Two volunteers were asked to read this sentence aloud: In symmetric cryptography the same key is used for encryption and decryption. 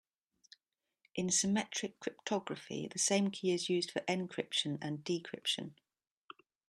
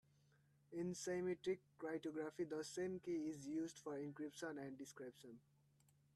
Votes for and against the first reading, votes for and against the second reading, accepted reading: 2, 0, 1, 3, first